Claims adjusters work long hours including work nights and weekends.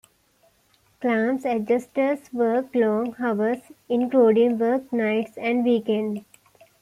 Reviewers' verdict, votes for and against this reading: accepted, 2, 1